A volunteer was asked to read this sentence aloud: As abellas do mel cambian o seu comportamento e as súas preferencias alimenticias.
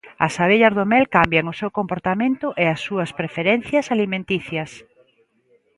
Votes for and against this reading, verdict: 2, 0, accepted